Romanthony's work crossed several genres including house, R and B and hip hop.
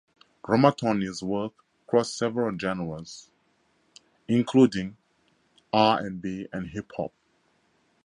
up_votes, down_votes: 0, 4